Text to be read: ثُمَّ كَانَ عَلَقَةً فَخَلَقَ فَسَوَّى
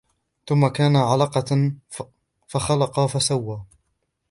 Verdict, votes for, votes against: rejected, 1, 2